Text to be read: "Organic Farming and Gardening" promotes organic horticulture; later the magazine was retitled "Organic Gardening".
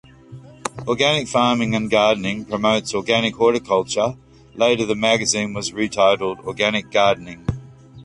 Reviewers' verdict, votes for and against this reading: rejected, 1, 2